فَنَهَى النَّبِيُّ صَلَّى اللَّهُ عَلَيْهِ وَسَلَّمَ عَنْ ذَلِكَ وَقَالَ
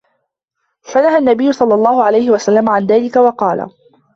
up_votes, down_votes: 1, 2